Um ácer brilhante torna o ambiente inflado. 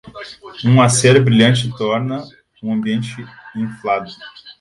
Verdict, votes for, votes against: rejected, 2, 3